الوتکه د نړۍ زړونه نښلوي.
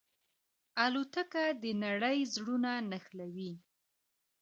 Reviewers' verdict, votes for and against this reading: accepted, 2, 1